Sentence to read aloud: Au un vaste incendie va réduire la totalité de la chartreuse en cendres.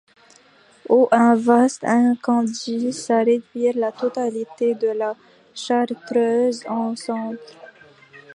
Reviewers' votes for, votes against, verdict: 1, 2, rejected